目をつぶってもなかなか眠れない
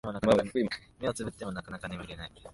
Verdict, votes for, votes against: rejected, 0, 2